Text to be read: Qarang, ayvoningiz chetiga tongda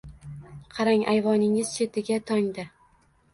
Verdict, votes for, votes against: accepted, 2, 0